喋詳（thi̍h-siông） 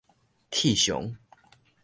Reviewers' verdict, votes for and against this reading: rejected, 1, 2